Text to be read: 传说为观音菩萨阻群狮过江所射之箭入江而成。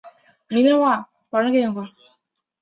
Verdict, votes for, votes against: rejected, 0, 2